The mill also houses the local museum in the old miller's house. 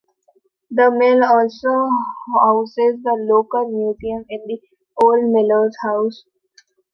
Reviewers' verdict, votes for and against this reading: rejected, 1, 2